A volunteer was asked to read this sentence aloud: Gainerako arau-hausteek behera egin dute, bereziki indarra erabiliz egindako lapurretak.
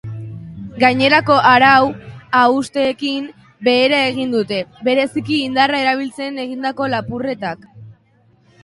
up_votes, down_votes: 0, 3